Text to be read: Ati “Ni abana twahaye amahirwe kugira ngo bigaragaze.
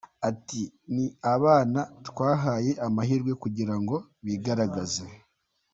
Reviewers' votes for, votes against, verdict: 2, 1, accepted